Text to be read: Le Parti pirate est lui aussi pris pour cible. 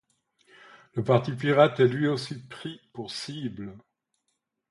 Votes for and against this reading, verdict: 2, 0, accepted